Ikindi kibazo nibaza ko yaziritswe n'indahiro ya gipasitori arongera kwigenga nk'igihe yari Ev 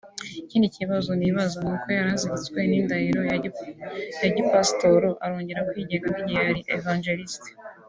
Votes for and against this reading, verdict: 0, 2, rejected